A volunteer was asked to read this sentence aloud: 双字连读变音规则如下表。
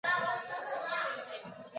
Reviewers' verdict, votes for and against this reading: rejected, 1, 2